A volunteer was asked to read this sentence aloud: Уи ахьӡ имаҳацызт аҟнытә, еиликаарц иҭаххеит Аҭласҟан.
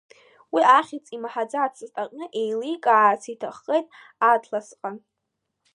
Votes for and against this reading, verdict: 0, 2, rejected